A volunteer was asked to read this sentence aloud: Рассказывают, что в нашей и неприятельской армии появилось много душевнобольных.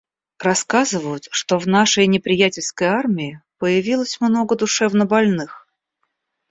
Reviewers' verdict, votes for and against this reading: accepted, 2, 0